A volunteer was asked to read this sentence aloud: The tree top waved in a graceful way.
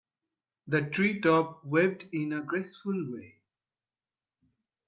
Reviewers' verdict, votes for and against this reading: accepted, 2, 0